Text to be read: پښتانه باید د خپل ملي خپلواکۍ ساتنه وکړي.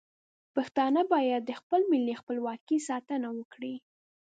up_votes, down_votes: 1, 2